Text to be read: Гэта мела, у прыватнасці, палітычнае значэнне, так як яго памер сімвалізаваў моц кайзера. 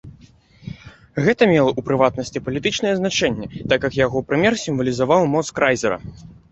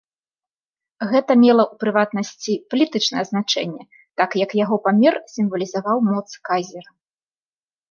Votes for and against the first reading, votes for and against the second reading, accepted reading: 1, 2, 2, 0, second